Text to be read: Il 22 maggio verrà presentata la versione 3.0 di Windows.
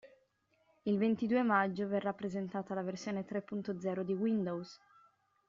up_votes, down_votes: 0, 2